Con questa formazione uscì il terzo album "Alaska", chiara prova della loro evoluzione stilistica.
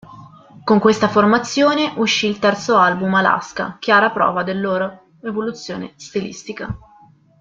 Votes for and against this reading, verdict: 1, 2, rejected